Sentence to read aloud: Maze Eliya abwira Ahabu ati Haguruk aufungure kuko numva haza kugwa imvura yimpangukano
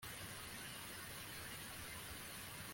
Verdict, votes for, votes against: rejected, 0, 2